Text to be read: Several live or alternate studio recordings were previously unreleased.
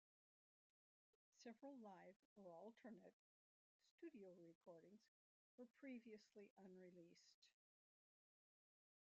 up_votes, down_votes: 0, 2